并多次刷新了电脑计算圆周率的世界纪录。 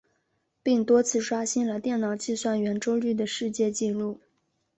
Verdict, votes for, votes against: accepted, 2, 1